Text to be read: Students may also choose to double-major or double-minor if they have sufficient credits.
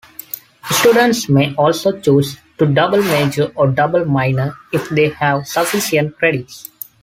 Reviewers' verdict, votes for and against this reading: accepted, 2, 0